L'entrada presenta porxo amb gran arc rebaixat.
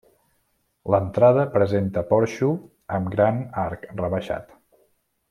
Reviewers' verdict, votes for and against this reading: accepted, 3, 0